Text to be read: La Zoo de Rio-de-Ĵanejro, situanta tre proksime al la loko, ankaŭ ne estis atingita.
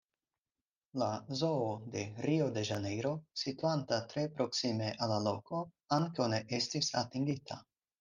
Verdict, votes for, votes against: accepted, 4, 0